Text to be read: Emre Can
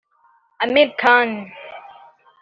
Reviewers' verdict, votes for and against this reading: rejected, 1, 2